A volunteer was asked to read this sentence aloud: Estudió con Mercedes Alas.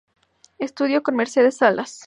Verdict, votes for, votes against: accepted, 2, 0